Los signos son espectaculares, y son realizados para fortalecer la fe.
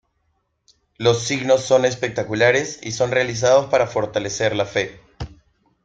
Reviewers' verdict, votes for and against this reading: accepted, 2, 1